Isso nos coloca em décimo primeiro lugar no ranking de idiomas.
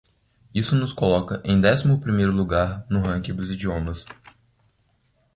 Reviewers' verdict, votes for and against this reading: rejected, 0, 2